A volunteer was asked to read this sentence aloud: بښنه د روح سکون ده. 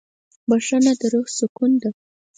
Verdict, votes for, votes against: accepted, 4, 0